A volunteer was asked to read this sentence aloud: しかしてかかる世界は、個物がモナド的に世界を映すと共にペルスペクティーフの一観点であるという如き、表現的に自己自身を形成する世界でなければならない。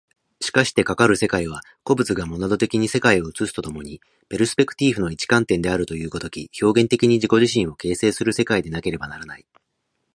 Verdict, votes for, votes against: rejected, 1, 2